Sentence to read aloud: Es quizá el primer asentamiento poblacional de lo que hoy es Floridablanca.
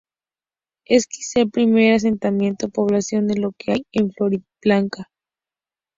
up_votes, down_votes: 2, 0